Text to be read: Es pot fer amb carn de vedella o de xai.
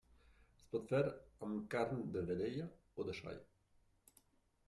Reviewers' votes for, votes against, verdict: 1, 2, rejected